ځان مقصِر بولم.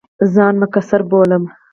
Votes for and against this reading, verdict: 2, 2, rejected